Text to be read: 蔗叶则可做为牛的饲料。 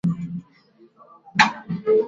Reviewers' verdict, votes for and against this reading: rejected, 1, 4